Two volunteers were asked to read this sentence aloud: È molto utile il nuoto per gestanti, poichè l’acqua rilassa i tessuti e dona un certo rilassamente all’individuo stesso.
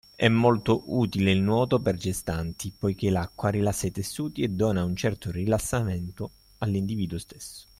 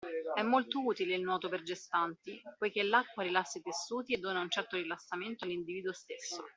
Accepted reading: first